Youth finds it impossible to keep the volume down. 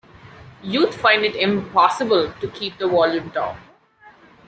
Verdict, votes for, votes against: rejected, 1, 2